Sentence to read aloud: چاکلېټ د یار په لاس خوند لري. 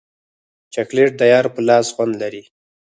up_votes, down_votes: 0, 4